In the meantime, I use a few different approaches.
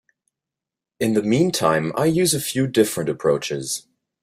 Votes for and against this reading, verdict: 2, 0, accepted